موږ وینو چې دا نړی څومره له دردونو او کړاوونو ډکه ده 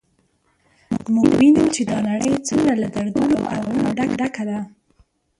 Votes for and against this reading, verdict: 1, 2, rejected